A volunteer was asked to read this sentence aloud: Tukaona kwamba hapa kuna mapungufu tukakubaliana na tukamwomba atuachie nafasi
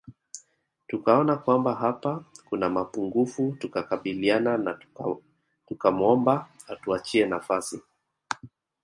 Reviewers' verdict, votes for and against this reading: accepted, 3, 1